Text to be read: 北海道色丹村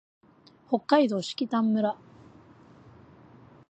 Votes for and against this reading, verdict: 2, 0, accepted